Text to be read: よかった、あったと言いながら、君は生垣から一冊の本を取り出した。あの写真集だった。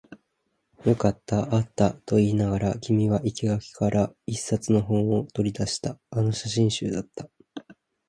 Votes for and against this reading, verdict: 13, 1, accepted